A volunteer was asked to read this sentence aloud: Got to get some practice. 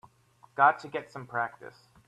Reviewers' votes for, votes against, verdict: 2, 0, accepted